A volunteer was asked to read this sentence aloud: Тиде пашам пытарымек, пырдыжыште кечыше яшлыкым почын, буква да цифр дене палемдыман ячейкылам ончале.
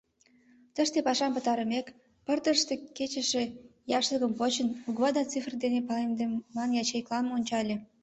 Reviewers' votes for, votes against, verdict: 1, 2, rejected